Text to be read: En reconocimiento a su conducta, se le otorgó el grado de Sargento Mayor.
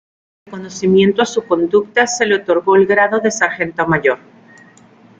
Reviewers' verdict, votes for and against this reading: rejected, 0, 2